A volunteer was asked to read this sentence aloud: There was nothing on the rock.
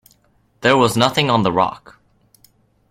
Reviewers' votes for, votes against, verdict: 2, 0, accepted